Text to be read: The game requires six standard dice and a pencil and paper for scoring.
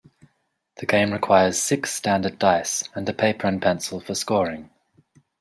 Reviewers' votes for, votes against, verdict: 0, 2, rejected